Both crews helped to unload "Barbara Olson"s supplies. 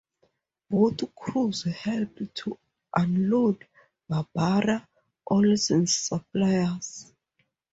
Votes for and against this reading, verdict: 2, 0, accepted